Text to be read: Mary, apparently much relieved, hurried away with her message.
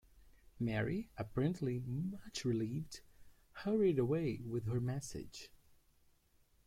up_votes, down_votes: 0, 2